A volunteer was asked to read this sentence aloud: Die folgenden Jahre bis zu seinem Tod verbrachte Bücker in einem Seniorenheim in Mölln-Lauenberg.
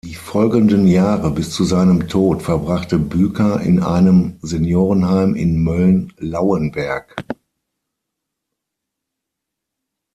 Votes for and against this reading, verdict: 3, 6, rejected